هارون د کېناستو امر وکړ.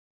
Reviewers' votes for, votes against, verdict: 0, 2, rejected